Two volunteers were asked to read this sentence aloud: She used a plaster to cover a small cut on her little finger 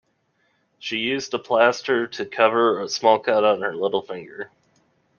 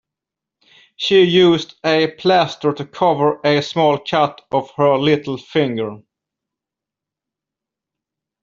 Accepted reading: first